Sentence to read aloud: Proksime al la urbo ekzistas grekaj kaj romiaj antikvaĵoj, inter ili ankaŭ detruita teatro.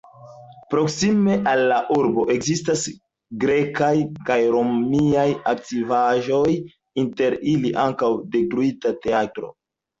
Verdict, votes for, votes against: rejected, 0, 2